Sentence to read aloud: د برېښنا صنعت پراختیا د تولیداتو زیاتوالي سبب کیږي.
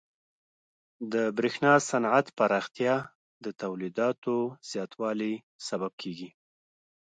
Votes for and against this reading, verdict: 1, 2, rejected